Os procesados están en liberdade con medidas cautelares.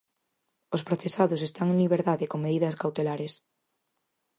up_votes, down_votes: 4, 0